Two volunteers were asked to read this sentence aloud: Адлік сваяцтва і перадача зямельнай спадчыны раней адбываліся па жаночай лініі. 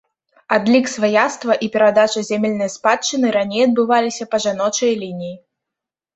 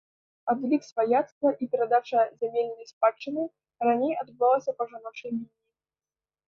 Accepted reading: first